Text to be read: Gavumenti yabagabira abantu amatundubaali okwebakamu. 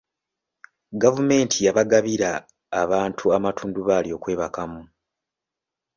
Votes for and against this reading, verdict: 2, 0, accepted